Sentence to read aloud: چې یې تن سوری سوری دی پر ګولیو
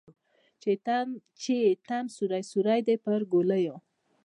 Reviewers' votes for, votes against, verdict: 0, 2, rejected